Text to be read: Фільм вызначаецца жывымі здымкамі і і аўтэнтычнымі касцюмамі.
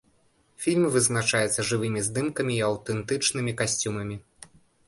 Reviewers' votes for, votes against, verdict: 3, 0, accepted